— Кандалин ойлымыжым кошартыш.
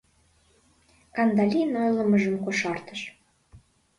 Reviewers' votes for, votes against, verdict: 2, 0, accepted